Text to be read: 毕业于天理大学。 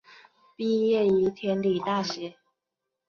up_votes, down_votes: 2, 0